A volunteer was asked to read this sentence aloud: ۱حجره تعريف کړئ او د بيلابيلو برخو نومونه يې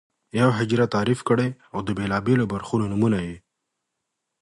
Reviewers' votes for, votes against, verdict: 0, 2, rejected